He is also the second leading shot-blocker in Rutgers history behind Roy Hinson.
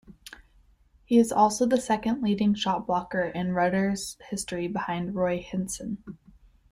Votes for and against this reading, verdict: 0, 2, rejected